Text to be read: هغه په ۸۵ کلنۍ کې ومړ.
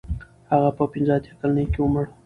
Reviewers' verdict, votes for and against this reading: rejected, 0, 2